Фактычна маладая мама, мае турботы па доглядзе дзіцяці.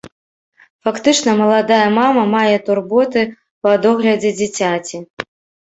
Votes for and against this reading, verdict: 1, 2, rejected